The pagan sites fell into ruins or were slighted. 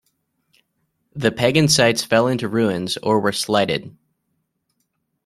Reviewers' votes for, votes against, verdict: 1, 2, rejected